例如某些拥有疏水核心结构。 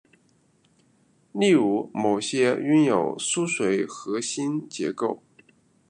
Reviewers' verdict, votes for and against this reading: accepted, 2, 1